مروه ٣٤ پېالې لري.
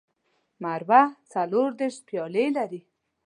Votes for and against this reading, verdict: 0, 2, rejected